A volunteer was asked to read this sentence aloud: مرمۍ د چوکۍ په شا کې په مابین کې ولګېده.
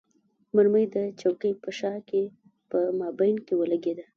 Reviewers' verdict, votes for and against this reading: accepted, 2, 0